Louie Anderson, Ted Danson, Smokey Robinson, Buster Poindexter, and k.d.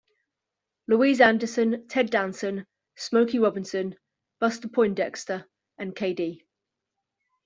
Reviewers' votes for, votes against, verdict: 1, 2, rejected